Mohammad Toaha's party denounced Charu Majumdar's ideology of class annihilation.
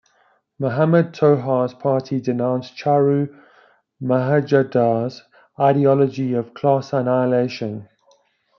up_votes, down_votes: 1, 2